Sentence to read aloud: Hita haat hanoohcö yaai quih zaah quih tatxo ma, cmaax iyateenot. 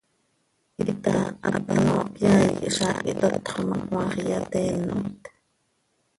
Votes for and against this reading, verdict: 1, 2, rejected